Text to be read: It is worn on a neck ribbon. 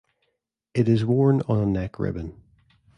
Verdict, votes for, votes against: accepted, 2, 0